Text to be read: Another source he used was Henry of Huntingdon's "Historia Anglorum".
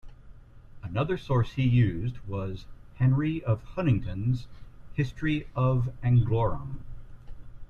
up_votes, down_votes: 1, 2